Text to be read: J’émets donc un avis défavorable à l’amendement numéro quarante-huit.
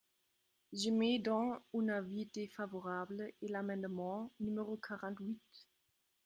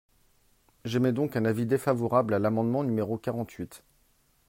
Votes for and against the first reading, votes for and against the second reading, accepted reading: 0, 2, 2, 0, second